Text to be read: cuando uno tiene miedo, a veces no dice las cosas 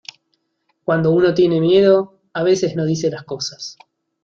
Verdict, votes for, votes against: accepted, 2, 0